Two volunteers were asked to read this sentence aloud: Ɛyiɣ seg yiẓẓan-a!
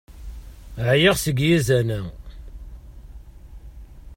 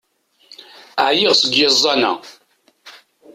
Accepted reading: second